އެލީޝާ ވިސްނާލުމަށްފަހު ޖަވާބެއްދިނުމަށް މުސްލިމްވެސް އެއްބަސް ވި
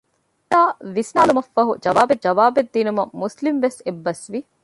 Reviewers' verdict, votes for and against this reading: rejected, 0, 2